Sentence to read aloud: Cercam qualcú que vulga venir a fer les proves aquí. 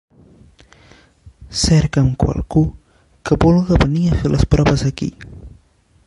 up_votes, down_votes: 1, 3